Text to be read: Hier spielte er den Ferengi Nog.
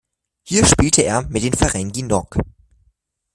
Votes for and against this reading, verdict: 0, 2, rejected